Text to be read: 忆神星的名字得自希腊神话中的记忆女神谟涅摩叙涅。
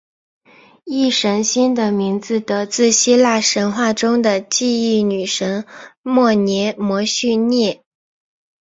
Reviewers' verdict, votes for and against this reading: accepted, 2, 0